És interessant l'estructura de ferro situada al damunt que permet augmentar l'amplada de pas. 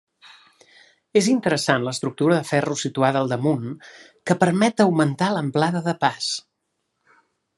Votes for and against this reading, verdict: 2, 0, accepted